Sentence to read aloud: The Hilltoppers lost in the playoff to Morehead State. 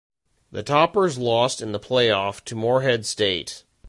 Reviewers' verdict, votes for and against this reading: rejected, 1, 2